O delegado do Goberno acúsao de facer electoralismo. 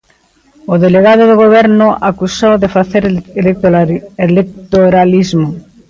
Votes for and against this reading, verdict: 0, 2, rejected